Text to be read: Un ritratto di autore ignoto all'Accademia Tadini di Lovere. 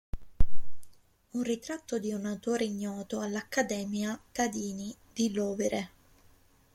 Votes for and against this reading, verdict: 1, 2, rejected